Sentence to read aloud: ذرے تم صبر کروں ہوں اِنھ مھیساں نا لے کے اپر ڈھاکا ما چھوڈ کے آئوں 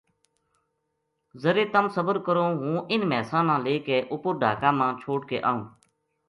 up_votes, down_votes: 2, 0